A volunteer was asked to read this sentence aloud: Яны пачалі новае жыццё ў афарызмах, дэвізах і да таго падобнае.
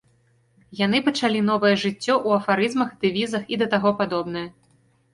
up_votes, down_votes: 2, 0